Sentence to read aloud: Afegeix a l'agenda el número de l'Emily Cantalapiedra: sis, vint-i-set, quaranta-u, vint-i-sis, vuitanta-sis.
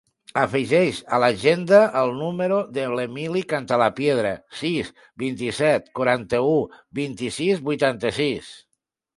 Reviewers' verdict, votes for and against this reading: accepted, 2, 0